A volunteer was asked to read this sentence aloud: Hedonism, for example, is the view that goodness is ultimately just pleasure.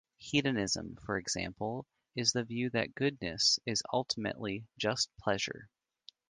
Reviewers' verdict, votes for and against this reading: accepted, 2, 0